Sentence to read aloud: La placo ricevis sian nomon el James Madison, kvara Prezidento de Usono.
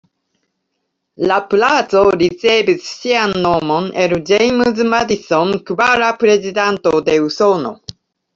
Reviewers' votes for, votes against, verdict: 1, 2, rejected